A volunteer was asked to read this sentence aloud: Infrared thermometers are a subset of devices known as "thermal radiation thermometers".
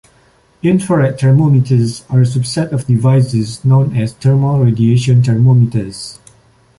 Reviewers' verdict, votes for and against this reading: accepted, 2, 0